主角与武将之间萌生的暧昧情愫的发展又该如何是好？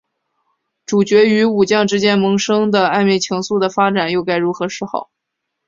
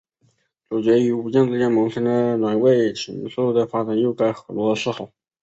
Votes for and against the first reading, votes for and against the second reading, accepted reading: 2, 0, 1, 2, first